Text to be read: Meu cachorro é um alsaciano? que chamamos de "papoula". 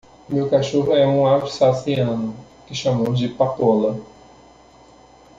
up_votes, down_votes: 1, 2